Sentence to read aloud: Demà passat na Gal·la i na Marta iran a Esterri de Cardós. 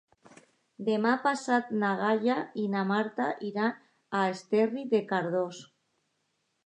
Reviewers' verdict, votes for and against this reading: rejected, 0, 2